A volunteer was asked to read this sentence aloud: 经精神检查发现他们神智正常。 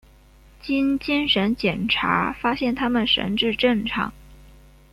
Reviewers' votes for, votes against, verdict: 2, 0, accepted